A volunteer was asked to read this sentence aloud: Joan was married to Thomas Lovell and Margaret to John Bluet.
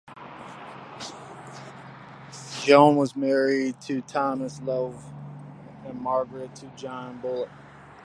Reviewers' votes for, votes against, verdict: 1, 2, rejected